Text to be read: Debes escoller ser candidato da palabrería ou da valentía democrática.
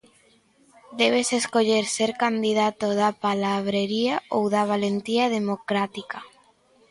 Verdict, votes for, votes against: accepted, 2, 0